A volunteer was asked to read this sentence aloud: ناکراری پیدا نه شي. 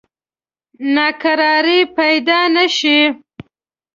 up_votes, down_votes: 2, 0